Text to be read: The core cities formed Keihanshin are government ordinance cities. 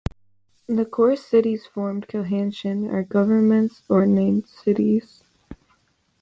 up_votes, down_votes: 0, 2